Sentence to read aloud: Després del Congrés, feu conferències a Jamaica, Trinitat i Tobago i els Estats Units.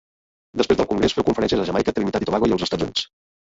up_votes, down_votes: 0, 2